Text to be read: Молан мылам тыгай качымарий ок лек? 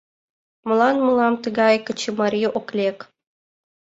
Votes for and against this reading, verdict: 3, 0, accepted